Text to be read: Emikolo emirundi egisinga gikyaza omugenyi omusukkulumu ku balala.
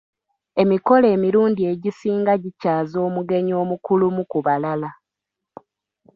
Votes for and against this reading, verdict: 0, 2, rejected